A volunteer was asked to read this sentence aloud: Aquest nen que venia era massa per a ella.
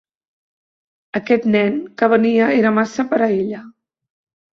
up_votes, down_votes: 2, 0